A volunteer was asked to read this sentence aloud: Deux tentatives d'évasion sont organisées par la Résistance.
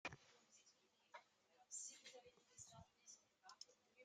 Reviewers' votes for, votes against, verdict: 0, 2, rejected